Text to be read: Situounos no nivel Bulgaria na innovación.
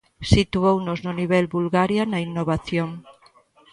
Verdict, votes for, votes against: rejected, 0, 2